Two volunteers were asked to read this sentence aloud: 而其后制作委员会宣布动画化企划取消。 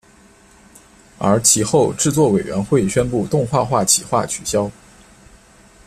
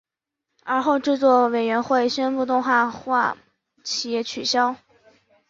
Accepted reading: first